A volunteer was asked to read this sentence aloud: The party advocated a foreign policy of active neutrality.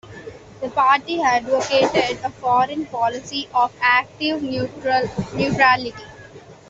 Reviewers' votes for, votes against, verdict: 0, 2, rejected